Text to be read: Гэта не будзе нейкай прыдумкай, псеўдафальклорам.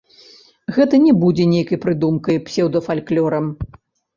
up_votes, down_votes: 1, 2